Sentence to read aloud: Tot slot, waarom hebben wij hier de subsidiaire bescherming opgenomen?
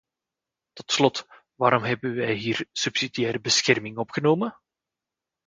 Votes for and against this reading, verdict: 1, 2, rejected